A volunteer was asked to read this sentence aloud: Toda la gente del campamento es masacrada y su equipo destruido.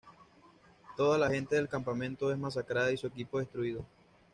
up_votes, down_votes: 2, 0